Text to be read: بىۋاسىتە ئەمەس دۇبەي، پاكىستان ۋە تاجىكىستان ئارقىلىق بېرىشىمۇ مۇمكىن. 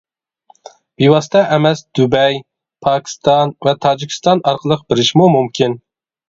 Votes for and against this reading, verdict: 0, 2, rejected